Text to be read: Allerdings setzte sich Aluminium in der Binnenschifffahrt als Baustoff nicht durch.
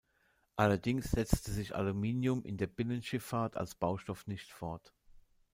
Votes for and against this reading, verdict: 0, 2, rejected